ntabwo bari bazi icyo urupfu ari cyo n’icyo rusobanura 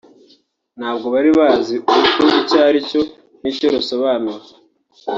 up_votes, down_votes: 0, 2